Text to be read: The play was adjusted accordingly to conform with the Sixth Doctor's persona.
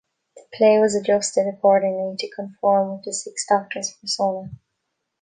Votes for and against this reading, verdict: 1, 2, rejected